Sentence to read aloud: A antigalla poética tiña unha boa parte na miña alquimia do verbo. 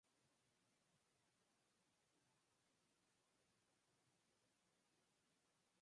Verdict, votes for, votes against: rejected, 0, 4